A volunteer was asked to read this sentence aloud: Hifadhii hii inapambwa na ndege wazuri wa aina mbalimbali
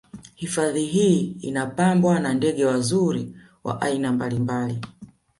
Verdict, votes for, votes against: rejected, 1, 2